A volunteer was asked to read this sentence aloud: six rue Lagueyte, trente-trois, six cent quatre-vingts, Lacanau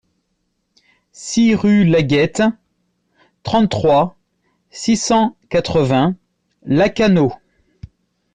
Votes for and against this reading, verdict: 2, 0, accepted